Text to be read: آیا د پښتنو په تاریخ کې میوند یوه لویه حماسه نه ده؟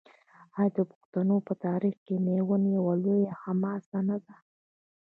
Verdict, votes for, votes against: rejected, 1, 2